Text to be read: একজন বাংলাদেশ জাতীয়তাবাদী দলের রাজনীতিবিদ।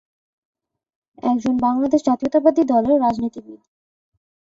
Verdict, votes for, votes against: accepted, 6, 1